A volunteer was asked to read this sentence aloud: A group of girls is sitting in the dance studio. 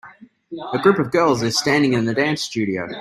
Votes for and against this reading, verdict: 0, 2, rejected